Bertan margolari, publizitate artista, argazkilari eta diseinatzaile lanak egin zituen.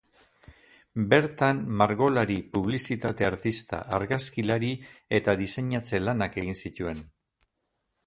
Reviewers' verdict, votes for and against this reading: rejected, 0, 2